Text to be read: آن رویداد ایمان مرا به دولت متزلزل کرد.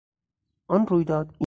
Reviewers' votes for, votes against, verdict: 0, 4, rejected